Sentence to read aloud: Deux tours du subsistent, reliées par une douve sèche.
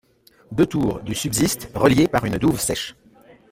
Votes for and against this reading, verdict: 1, 2, rejected